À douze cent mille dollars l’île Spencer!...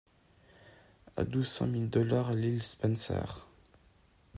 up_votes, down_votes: 2, 1